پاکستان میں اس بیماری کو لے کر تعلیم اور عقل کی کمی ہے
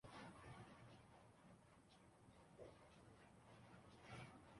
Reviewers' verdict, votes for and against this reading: rejected, 1, 2